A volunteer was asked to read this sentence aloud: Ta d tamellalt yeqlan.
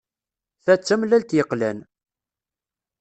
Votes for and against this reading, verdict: 2, 0, accepted